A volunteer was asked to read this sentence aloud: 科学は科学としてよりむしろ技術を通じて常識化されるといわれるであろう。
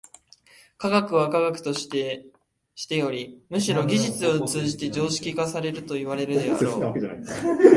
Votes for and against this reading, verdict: 2, 0, accepted